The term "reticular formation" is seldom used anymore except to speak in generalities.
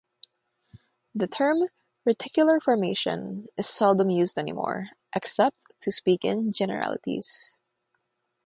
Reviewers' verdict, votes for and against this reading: rejected, 3, 3